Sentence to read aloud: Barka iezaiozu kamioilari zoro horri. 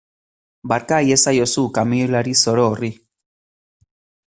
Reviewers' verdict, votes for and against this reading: accepted, 2, 0